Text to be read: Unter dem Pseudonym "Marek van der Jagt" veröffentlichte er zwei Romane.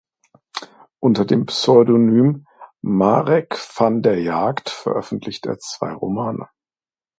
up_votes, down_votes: 2, 0